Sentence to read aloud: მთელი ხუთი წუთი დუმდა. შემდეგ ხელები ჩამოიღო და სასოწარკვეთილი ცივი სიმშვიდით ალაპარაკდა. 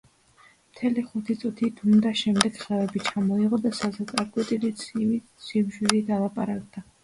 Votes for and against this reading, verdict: 2, 0, accepted